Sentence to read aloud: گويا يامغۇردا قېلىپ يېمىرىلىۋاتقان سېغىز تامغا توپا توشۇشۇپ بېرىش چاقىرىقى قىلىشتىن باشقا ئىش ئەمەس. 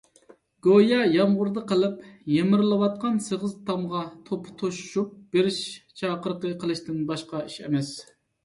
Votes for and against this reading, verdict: 3, 0, accepted